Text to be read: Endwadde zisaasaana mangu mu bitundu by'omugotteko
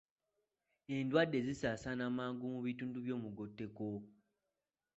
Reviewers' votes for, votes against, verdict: 2, 0, accepted